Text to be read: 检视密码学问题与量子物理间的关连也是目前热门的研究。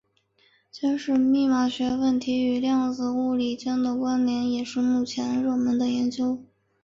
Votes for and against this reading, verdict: 3, 0, accepted